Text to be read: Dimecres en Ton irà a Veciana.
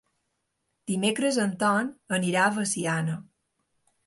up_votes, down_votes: 2, 1